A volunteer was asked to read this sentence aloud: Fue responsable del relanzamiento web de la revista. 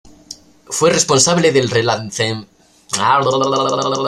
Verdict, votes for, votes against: rejected, 0, 2